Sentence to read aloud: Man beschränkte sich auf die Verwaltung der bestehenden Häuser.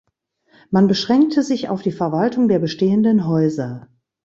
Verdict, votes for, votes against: accepted, 2, 0